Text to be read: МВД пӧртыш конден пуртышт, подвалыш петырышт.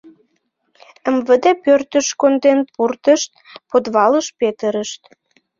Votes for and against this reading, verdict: 2, 0, accepted